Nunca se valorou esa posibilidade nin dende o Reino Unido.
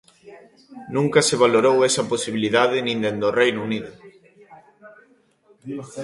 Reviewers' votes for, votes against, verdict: 1, 2, rejected